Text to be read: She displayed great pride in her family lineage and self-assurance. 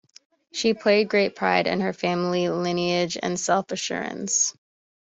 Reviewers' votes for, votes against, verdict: 0, 2, rejected